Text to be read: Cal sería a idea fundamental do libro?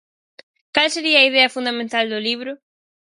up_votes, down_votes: 4, 0